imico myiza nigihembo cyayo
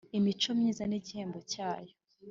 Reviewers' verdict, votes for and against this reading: accepted, 2, 0